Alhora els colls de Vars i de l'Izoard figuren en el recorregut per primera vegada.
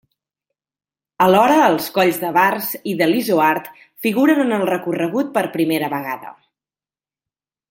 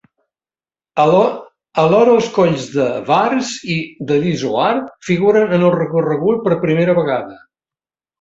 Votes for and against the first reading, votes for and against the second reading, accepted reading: 2, 0, 1, 3, first